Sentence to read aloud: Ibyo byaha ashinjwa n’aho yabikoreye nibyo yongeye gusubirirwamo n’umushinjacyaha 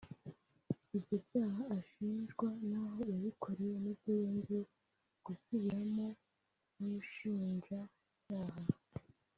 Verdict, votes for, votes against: rejected, 0, 2